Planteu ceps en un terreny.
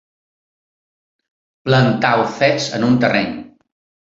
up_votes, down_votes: 1, 2